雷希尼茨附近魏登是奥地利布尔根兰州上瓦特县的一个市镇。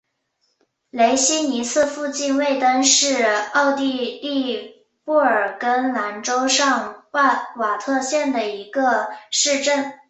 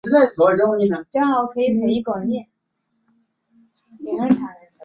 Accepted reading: first